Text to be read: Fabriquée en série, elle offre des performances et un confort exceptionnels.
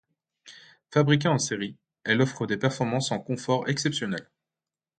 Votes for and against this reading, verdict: 1, 2, rejected